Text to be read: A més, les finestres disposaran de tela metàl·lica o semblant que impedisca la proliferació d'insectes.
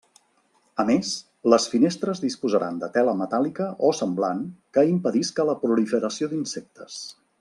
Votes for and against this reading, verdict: 3, 0, accepted